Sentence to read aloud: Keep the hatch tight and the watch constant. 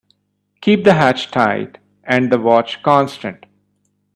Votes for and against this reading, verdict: 2, 0, accepted